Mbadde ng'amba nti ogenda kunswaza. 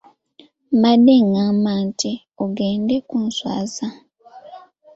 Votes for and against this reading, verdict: 0, 2, rejected